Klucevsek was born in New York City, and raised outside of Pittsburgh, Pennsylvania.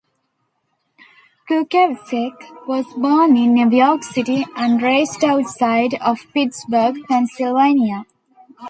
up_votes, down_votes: 2, 0